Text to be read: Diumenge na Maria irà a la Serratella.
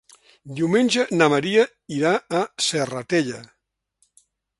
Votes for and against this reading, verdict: 1, 2, rejected